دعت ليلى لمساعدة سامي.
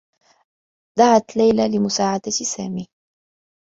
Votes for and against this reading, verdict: 2, 0, accepted